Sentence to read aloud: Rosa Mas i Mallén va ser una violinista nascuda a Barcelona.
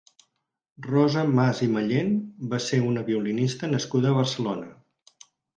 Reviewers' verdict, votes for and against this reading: accepted, 4, 0